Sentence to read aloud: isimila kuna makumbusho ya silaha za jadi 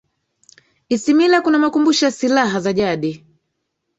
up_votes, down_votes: 1, 2